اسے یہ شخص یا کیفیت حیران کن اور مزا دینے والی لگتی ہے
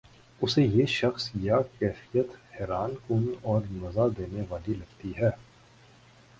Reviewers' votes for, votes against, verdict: 1, 2, rejected